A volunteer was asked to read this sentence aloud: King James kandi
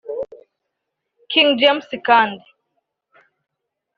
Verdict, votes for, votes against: accepted, 2, 1